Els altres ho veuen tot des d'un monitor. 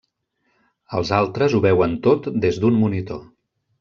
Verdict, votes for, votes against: rejected, 0, 2